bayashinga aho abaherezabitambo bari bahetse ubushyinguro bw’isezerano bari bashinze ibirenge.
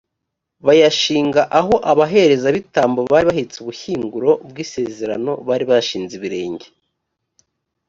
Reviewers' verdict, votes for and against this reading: accepted, 2, 0